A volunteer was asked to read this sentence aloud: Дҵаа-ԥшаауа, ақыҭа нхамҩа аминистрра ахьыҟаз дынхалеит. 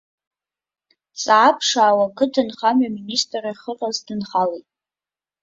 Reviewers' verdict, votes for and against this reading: accepted, 2, 0